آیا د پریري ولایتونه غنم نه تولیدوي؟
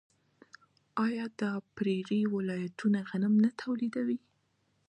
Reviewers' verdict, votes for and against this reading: accepted, 2, 0